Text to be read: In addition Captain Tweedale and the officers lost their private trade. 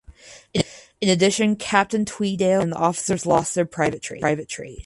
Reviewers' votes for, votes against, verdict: 2, 4, rejected